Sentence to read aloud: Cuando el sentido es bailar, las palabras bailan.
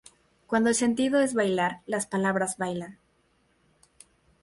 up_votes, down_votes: 4, 0